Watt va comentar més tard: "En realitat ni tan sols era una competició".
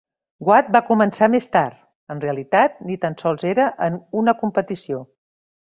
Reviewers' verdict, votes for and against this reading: rejected, 1, 2